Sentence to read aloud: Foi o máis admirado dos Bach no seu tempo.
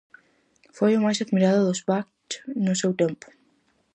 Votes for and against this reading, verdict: 4, 0, accepted